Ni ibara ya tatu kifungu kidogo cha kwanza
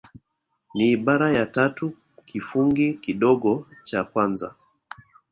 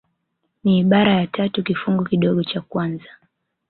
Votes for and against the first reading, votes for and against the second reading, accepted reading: 0, 2, 2, 0, second